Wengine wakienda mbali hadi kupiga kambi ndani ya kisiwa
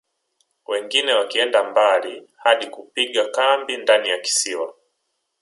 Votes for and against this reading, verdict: 1, 2, rejected